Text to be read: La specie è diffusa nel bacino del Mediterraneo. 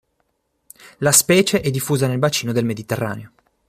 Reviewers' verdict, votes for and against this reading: accepted, 2, 0